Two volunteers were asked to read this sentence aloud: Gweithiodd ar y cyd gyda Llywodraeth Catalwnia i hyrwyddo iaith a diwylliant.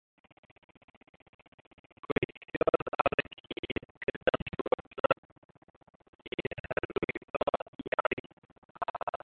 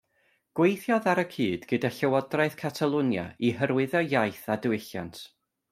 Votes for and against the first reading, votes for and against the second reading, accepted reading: 0, 2, 2, 0, second